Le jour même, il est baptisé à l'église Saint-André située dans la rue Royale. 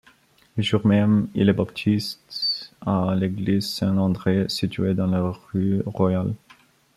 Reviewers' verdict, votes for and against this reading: rejected, 0, 2